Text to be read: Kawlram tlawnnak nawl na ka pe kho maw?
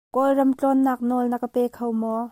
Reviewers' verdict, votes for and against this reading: accepted, 2, 0